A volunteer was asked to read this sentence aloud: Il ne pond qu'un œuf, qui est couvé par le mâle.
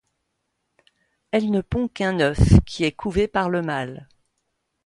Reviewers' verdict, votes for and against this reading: rejected, 0, 2